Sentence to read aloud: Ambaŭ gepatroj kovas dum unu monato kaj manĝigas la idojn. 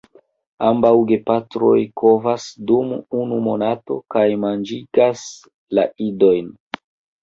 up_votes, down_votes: 2, 1